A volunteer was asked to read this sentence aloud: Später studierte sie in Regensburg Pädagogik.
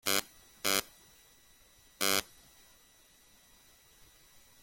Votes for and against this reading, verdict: 0, 2, rejected